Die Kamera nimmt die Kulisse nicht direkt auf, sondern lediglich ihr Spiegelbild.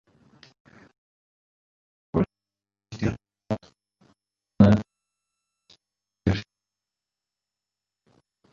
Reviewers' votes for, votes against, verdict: 0, 2, rejected